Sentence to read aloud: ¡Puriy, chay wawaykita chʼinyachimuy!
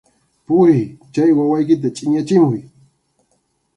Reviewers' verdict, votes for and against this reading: accepted, 2, 0